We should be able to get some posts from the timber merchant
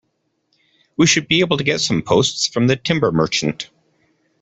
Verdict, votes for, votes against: accepted, 2, 0